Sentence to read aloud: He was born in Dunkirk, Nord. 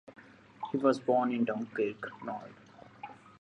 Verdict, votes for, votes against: accepted, 2, 0